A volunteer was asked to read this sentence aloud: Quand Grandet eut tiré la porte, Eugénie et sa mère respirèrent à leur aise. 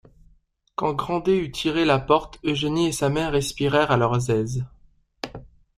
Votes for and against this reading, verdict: 1, 2, rejected